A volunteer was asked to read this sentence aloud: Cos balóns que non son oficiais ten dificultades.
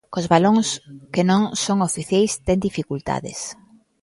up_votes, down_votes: 2, 0